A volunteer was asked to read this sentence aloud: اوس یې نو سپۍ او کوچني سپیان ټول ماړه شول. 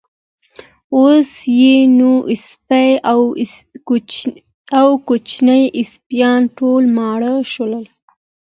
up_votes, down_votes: 2, 0